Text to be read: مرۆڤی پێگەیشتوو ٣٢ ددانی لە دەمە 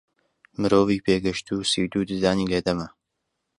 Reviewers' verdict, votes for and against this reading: rejected, 0, 2